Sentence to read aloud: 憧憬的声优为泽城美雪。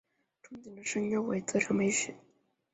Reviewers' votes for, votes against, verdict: 1, 2, rejected